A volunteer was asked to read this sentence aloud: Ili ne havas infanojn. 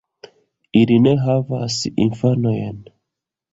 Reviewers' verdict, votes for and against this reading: rejected, 0, 2